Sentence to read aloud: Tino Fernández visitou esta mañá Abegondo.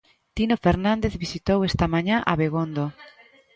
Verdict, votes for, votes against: rejected, 1, 2